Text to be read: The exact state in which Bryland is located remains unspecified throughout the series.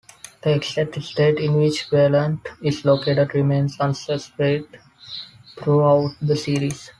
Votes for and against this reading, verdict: 5, 4, accepted